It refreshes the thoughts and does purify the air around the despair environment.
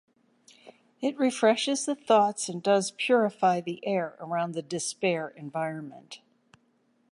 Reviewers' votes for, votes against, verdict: 2, 0, accepted